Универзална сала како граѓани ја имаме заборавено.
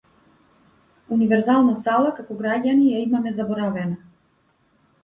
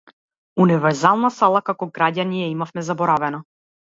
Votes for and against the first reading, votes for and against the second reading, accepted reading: 2, 0, 0, 2, first